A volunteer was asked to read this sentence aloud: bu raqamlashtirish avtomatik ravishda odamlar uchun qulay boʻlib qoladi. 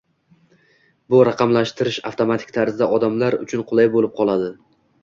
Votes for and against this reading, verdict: 0, 2, rejected